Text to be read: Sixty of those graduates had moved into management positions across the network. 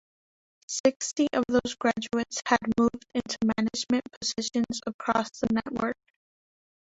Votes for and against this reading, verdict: 1, 3, rejected